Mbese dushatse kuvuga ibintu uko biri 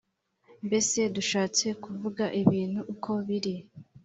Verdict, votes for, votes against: accepted, 2, 0